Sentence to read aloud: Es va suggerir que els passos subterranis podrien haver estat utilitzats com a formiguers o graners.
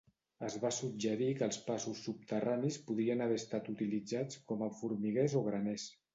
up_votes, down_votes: 2, 0